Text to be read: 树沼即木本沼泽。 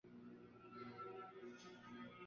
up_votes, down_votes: 1, 2